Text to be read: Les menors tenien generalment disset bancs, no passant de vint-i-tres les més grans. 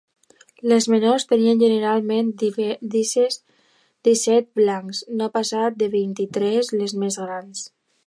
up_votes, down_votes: 0, 2